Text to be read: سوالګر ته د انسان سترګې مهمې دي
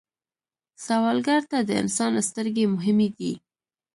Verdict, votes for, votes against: accepted, 2, 1